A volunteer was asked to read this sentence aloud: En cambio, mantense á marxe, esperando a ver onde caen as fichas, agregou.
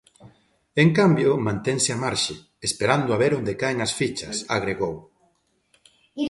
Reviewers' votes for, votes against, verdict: 2, 0, accepted